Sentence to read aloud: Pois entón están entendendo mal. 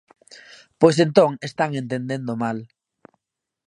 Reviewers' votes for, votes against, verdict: 0, 2, rejected